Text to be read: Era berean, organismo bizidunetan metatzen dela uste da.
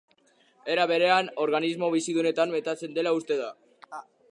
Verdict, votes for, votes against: accepted, 2, 0